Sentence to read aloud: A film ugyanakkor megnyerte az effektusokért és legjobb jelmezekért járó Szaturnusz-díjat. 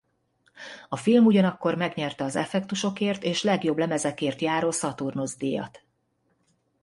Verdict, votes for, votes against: rejected, 1, 2